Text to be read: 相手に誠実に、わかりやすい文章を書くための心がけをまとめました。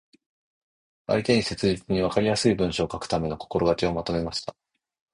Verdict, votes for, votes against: accepted, 2, 0